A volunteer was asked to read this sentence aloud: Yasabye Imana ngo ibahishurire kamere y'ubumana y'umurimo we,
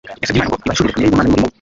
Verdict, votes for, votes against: rejected, 0, 2